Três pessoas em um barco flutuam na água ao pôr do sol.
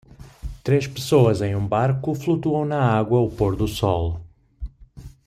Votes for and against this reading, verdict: 2, 0, accepted